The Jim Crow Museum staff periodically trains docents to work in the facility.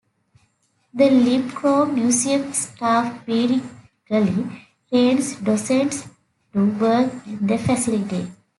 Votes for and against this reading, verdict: 0, 2, rejected